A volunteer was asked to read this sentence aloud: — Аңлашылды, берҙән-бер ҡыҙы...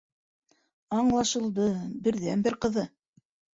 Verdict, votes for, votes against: accepted, 2, 0